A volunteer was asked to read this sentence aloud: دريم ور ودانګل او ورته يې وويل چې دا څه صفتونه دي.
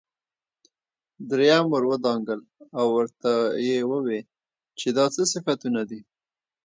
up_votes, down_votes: 2, 0